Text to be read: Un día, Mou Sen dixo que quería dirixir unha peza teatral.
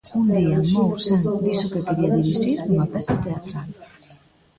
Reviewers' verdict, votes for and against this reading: rejected, 0, 2